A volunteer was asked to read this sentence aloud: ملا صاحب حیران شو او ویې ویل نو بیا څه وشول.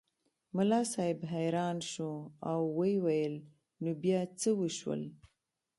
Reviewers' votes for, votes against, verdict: 2, 0, accepted